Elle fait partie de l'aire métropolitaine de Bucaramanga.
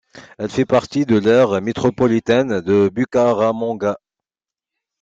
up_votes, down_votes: 2, 0